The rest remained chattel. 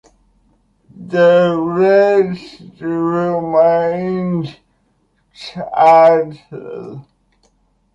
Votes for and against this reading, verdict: 2, 0, accepted